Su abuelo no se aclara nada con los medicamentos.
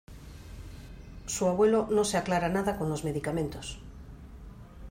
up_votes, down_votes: 2, 0